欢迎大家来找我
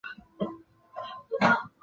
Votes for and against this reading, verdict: 0, 2, rejected